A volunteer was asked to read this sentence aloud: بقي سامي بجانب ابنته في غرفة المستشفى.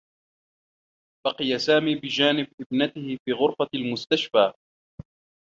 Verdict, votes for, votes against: rejected, 1, 2